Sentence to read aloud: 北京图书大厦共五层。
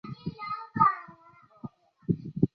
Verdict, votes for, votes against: rejected, 0, 2